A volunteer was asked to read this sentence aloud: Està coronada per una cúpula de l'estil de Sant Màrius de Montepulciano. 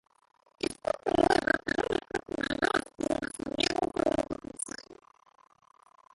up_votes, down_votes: 0, 3